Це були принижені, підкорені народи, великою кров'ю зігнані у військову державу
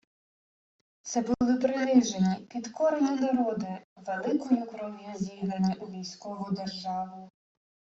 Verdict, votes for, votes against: accepted, 2, 1